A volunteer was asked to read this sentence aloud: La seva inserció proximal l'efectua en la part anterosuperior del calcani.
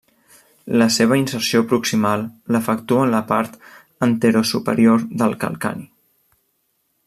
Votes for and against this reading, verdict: 2, 0, accepted